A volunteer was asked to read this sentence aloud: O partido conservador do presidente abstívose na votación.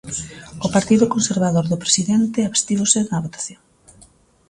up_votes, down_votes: 2, 0